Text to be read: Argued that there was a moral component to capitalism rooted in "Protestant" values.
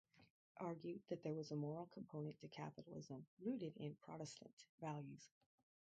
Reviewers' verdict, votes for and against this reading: rejected, 0, 2